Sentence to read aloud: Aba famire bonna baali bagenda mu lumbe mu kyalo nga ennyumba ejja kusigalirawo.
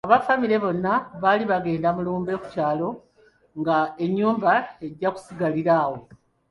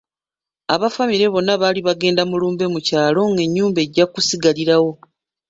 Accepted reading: first